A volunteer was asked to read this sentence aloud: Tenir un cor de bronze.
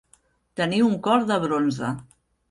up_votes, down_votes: 2, 0